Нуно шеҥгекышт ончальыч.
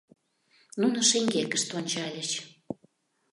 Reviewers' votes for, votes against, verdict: 2, 0, accepted